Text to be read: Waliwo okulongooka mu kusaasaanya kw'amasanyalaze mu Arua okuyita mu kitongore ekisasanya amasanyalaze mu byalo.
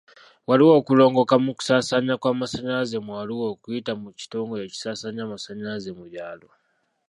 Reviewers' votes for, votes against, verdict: 1, 2, rejected